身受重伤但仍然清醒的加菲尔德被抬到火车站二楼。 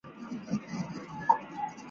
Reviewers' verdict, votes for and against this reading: rejected, 1, 2